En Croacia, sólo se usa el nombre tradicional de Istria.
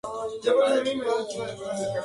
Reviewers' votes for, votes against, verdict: 0, 2, rejected